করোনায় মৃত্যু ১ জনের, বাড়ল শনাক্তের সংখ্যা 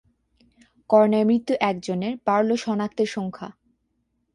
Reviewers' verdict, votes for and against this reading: rejected, 0, 2